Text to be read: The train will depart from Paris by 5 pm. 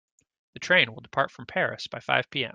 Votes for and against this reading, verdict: 0, 2, rejected